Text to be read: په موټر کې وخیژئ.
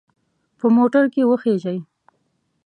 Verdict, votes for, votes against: accepted, 2, 0